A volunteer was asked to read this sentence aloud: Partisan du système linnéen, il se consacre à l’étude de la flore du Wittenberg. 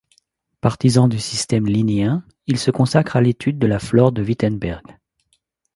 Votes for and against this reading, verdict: 0, 2, rejected